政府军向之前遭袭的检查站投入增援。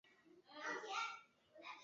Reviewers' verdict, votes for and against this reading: rejected, 0, 2